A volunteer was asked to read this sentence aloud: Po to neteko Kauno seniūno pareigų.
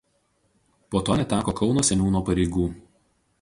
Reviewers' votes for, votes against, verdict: 2, 0, accepted